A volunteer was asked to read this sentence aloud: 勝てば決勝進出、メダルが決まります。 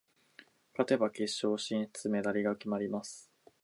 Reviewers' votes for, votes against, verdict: 4, 0, accepted